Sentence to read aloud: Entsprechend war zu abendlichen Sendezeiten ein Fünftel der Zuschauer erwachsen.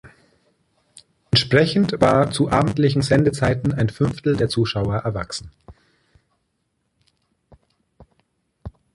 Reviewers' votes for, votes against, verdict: 2, 1, accepted